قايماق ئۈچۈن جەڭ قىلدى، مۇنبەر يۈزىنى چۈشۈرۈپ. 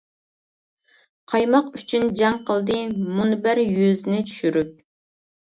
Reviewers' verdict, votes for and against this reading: accepted, 2, 0